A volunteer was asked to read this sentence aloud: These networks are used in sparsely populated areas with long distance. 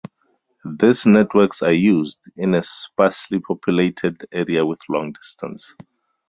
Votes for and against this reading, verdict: 2, 0, accepted